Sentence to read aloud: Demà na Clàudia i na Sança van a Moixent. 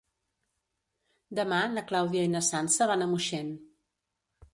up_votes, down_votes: 2, 0